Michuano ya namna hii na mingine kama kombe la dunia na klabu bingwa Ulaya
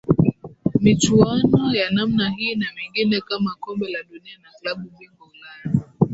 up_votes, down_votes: 0, 2